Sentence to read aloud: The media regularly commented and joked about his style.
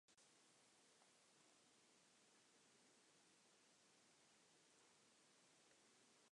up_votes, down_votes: 0, 2